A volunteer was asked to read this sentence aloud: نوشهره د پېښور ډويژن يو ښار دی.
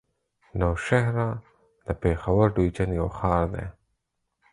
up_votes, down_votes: 4, 0